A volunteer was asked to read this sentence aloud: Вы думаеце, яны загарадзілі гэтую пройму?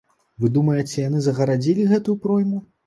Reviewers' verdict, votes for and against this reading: accepted, 2, 0